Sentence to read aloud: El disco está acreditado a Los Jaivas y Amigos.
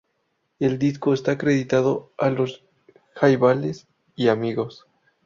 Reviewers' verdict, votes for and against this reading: rejected, 0, 2